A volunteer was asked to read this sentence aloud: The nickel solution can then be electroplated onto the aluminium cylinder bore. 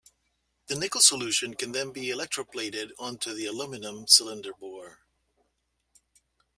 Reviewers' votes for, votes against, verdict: 0, 2, rejected